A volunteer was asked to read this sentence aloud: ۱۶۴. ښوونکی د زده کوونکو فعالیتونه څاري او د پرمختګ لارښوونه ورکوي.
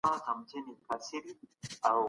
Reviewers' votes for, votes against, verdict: 0, 2, rejected